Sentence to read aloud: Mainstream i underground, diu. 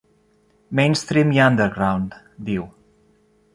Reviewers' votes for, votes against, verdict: 1, 2, rejected